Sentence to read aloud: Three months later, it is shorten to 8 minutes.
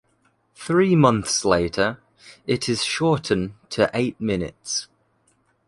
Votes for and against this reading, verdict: 0, 2, rejected